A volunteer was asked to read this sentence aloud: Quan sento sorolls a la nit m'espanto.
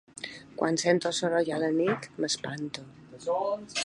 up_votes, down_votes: 2, 3